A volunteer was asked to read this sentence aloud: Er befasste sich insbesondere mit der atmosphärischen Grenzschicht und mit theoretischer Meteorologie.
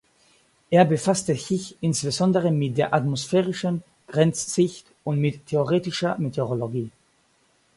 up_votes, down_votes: 2, 4